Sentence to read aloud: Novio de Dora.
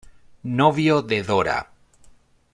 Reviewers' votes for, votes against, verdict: 2, 0, accepted